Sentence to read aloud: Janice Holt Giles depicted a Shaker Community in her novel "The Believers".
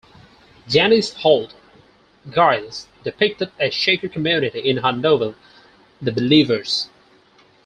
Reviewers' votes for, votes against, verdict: 0, 4, rejected